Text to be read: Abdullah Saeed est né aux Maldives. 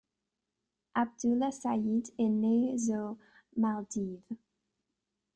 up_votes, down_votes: 1, 2